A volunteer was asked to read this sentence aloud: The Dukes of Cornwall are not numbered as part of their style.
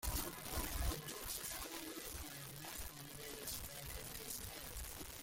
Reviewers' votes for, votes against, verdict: 0, 2, rejected